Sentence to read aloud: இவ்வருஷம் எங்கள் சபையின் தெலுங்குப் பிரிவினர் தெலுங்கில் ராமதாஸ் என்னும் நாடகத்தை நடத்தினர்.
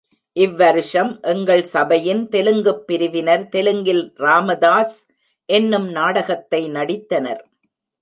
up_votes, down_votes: 1, 2